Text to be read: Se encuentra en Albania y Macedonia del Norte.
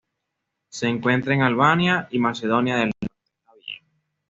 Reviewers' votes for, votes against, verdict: 1, 2, rejected